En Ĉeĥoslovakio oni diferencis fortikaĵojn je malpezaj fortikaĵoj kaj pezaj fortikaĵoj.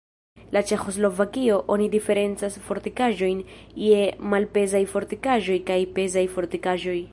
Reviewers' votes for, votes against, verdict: 0, 2, rejected